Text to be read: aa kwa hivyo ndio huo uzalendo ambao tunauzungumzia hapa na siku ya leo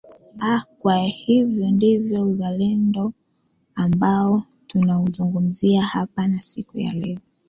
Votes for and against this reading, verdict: 1, 2, rejected